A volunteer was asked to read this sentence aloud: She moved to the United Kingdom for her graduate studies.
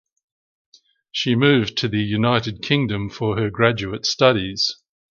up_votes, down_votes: 2, 0